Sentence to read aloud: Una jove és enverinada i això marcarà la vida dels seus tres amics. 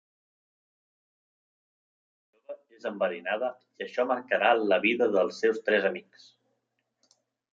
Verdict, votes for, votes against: rejected, 1, 2